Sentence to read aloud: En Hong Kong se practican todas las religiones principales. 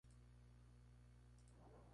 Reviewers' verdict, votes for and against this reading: rejected, 0, 2